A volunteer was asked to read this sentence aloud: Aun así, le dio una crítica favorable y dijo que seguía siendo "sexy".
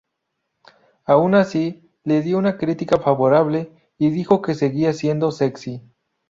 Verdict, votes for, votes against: rejected, 0, 2